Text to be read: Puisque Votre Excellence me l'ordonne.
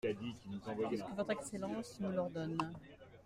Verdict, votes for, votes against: accepted, 2, 0